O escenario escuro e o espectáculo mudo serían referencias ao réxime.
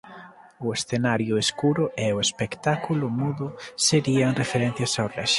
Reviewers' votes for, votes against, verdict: 1, 2, rejected